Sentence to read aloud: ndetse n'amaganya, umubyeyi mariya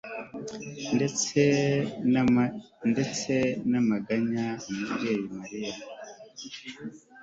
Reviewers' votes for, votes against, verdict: 2, 0, accepted